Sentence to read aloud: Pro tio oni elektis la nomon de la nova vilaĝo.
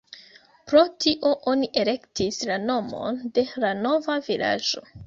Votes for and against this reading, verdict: 0, 2, rejected